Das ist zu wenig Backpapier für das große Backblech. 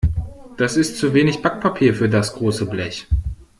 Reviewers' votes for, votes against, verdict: 1, 2, rejected